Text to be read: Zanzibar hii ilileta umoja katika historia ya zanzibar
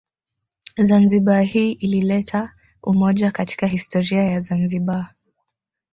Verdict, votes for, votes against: rejected, 1, 2